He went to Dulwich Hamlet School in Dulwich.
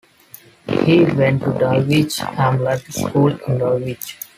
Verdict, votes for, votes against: rejected, 0, 2